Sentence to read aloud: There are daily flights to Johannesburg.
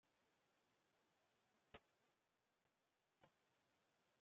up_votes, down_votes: 0, 2